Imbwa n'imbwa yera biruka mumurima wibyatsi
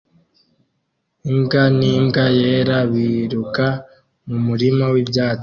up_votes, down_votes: 0, 2